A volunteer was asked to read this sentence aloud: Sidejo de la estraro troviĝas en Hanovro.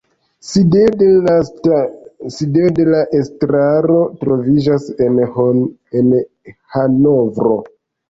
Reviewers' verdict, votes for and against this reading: rejected, 0, 2